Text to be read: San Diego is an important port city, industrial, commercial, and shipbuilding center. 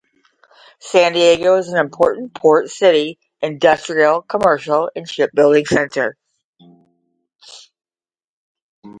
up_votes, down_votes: 5, 0